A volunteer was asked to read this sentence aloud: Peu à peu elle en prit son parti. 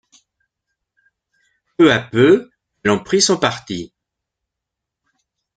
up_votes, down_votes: 1, 2